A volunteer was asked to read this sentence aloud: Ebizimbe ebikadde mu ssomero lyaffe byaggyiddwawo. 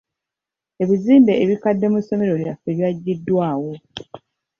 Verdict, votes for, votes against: accepted, 2, 0